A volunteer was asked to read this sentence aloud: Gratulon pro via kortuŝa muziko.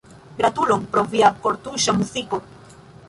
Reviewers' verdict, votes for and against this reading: rejected, 0, 2